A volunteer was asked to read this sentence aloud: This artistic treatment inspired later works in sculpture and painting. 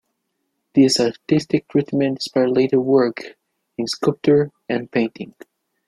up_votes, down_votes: 1, 2